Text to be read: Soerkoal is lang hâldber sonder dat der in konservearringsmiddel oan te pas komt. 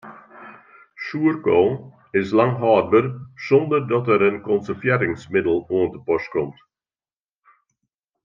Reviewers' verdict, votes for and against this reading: accepted, 2, 0